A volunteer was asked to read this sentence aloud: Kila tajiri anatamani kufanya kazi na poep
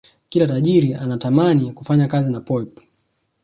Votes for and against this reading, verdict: 1, 2, rejected